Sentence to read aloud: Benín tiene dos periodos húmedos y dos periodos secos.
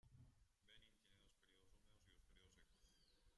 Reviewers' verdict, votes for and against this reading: rejected, 0, 2